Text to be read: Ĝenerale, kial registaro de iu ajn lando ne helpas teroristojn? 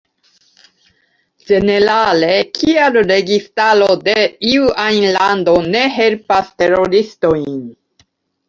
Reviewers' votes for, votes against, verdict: 0, 2, rejected